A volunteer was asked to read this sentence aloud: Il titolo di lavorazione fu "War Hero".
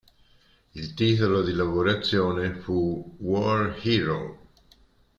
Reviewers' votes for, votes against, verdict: 3, 0, accepted